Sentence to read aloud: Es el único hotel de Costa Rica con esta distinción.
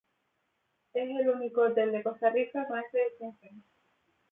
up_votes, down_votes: 0, 2